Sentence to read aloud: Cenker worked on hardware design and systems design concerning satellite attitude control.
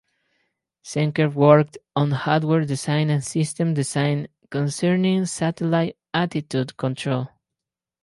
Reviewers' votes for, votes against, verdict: 0, 4, rejected